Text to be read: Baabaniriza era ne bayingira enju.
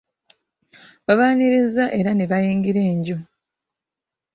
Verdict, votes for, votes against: rejected, 0, 2